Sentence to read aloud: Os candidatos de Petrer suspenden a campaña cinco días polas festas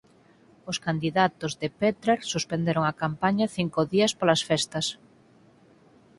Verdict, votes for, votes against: rejected, 0, 4